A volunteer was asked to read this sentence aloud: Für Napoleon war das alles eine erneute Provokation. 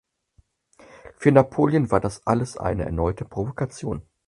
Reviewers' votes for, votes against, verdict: 4, 0, accepted